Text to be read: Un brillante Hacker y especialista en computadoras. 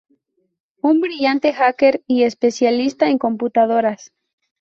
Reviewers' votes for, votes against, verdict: 6, 0, accepted